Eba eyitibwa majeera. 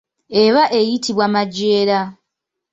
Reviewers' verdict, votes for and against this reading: accepted, 2, 1